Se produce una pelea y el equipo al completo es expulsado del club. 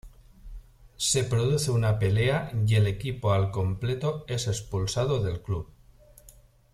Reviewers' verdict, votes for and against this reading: accepted, 2, 0